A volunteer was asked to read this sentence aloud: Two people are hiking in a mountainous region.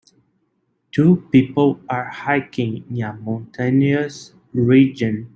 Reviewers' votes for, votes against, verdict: 0, 2, rejected